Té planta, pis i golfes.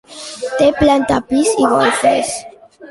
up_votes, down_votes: 0, 2